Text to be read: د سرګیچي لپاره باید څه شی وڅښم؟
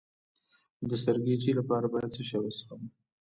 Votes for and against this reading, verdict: 1, 2, rejected